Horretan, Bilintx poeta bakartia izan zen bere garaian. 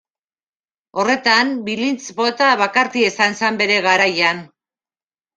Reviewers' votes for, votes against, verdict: 1, 2, rejected